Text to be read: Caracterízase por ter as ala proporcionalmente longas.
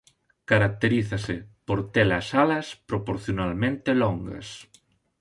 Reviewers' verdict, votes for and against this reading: rejected, 0, 2